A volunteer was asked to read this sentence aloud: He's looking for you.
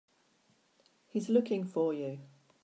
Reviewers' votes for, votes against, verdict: 3, 0, accepted